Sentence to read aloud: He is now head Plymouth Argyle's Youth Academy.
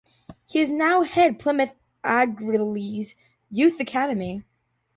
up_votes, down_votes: 2, 0